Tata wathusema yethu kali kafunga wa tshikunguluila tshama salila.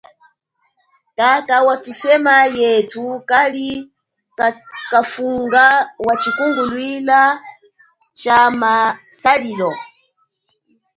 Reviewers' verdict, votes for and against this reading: rejected, 1, 5